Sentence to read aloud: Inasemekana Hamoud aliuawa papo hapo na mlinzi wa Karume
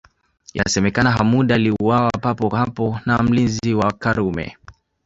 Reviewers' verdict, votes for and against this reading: accepted, 2, 0